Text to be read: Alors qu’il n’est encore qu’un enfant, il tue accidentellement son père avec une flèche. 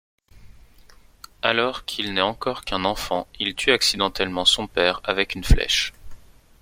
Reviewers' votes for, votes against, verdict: 2, 0, accepted